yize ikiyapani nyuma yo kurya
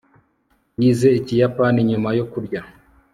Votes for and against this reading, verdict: 2, 1, accepted